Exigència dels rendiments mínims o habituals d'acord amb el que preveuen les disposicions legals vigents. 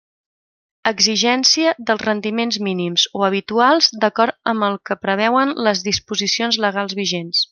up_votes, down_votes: 3, 0